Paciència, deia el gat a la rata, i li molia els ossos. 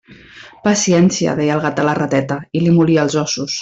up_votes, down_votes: 1, 2